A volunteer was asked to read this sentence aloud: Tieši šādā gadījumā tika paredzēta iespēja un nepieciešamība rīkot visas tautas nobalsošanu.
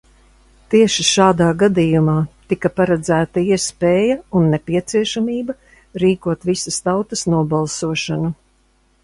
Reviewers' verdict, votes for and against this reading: accepted, 2, 0